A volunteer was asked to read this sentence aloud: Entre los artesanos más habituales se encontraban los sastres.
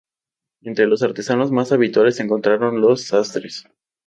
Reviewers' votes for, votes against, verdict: 0, 2, rejected